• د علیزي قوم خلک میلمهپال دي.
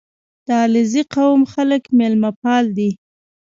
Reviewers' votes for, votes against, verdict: 0, 2, rejected